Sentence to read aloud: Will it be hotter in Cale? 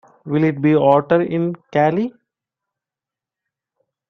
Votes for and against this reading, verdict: 0, 2, rejected